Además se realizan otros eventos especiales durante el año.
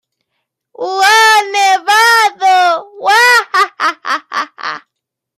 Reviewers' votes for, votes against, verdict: 1, 2, rejected